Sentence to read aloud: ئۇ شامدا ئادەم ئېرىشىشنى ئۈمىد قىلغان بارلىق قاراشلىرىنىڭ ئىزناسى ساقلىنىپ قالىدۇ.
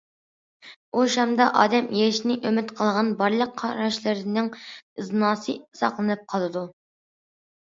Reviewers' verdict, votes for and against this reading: accepted, 2, 0